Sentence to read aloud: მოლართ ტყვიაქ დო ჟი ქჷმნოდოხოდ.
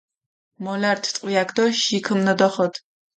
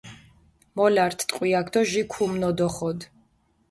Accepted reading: first